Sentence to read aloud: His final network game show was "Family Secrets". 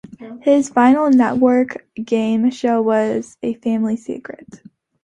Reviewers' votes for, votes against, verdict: 0, 2, rejected